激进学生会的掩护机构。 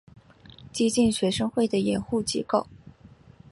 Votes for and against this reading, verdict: 1, 2, rejected